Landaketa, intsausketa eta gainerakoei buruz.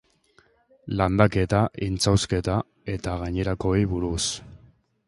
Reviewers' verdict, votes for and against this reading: accepted, 4, 0